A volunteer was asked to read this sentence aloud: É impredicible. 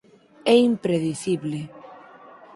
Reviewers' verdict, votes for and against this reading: accepted, 4, 0